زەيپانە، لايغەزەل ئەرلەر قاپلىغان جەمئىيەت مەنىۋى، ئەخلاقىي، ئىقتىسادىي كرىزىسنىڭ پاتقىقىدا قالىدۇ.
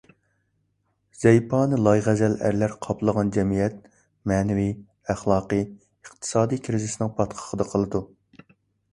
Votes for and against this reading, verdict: 2, 0, accepted